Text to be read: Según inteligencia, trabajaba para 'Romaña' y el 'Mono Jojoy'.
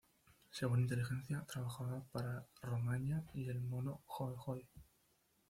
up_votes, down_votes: 1, 2